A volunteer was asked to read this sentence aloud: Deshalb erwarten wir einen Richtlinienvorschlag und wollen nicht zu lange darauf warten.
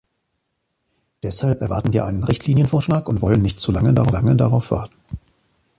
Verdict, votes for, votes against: rejected, 0, 2